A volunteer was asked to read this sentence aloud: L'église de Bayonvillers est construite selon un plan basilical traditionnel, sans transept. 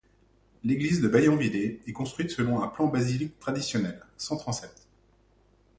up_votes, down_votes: 1, 2